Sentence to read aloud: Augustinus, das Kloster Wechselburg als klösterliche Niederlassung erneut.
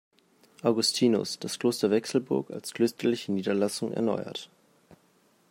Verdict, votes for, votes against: rejected, 0, 2